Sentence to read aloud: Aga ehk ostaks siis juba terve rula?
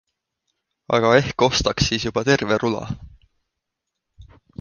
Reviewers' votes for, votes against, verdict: 2, 0, accepted